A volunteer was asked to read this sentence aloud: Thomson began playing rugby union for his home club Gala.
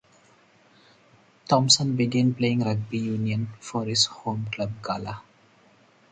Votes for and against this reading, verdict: 4, 0, accepted